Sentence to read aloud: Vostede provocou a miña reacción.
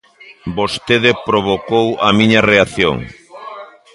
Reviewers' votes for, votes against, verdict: 2, 0, accepted